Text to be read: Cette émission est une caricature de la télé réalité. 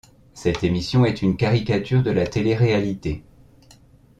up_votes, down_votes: 2, 0